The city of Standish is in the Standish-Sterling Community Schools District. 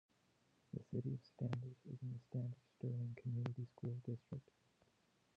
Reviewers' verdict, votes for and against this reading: rejected, 1, 3